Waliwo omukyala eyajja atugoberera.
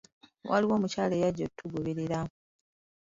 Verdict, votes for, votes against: accepted, 2, 1